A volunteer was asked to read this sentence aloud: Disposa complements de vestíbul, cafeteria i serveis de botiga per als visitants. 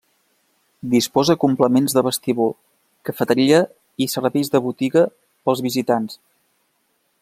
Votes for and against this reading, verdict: 0, 2, rejected